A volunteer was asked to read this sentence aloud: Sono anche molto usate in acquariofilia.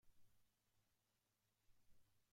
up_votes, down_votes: 0, 2